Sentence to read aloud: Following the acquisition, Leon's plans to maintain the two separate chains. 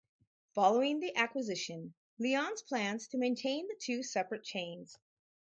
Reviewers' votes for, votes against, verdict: 2, 0, accepted